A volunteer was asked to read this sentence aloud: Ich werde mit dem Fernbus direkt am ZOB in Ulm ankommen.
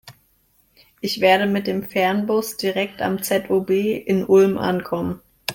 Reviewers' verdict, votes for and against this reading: accepted, 2, 0